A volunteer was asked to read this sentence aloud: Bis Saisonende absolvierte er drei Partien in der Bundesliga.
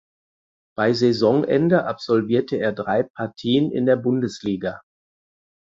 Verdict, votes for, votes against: rejected, 0, 4